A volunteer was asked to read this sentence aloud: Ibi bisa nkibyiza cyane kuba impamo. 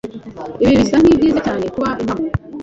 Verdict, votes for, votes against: accepted, 2, 0